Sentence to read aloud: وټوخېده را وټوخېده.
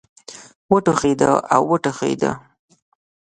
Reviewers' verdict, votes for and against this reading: rejected, 0, 2